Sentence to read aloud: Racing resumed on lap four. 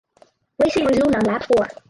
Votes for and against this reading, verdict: 0, 4, rejected